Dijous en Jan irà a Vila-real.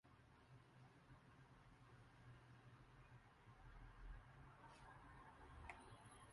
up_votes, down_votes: 0, 2